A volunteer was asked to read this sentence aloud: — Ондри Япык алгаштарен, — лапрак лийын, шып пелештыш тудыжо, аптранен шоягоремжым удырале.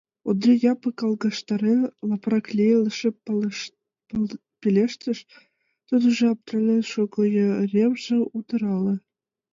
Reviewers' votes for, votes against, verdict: 1, 2, rejected